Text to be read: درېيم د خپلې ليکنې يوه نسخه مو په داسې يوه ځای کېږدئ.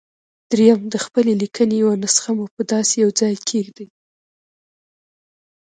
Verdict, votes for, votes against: accepted, 2, 0